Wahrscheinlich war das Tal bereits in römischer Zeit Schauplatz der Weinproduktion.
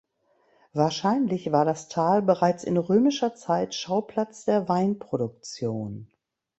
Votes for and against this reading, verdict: 2, 0, accepted